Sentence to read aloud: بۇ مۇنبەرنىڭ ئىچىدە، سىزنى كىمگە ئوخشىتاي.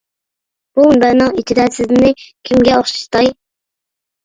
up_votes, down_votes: 0, 2